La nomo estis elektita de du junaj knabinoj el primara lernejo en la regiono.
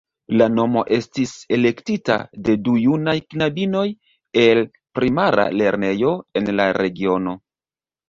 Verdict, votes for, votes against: accepted, 2, 0